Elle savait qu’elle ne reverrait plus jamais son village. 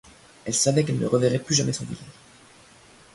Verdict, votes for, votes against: rejected, 1, 2